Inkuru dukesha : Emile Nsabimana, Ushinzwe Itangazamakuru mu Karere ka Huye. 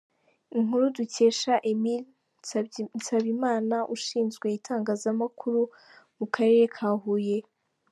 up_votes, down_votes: 1, 2